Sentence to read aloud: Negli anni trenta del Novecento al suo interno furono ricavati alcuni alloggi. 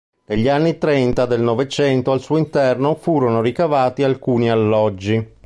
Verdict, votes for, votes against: accepted, 2, 0